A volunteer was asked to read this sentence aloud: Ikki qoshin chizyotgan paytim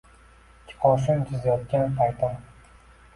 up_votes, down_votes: 2, 1